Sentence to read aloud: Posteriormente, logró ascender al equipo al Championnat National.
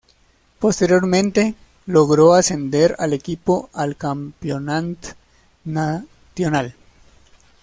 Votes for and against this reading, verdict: 1, 2, rejected